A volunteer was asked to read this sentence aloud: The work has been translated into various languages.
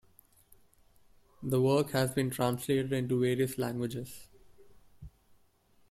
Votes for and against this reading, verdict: 2, 1, accepted